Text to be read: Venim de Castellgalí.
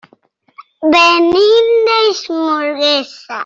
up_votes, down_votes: 0, 2